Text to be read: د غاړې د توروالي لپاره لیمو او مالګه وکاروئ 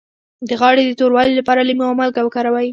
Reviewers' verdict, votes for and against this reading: accepted, 2, 0